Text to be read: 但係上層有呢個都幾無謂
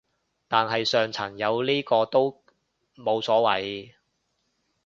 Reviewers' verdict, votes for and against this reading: rejected, 0, 2